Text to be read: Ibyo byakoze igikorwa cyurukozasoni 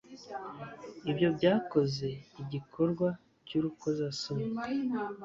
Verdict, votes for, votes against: accepted, 2, 0